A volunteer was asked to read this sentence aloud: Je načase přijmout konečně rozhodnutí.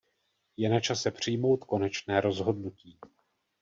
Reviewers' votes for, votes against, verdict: 1, 2, rejected